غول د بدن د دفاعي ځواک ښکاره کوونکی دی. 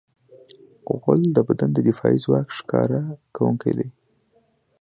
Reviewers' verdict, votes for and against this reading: accepted, 2, 0